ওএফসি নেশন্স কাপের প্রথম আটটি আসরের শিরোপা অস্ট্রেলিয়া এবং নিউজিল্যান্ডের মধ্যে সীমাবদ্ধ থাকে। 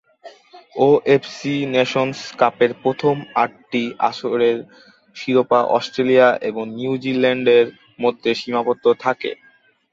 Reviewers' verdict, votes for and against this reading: accepted, 2, 0